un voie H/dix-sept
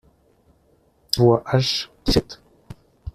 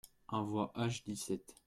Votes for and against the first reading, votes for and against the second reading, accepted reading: 0, 2, 2, 0, second